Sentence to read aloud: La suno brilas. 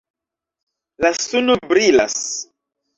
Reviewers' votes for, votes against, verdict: 2, 0, accepted